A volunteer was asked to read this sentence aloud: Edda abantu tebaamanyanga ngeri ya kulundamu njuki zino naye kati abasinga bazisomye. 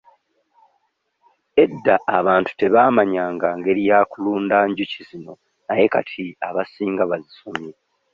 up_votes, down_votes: 2, 0